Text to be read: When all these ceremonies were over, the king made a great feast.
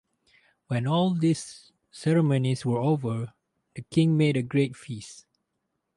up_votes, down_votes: 2, 0